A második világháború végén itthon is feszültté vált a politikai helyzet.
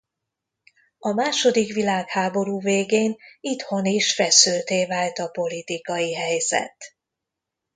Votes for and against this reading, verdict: 2, 0, accepted